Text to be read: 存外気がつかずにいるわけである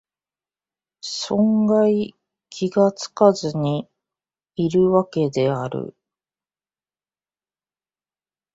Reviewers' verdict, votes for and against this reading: rejected, 0, 2